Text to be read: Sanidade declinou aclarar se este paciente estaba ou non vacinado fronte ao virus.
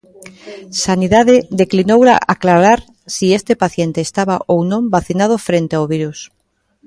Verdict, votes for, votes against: rejected, 0, 2